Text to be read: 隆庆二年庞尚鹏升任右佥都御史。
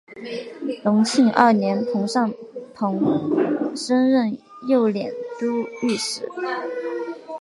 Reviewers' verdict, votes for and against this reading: accepted, 2, 0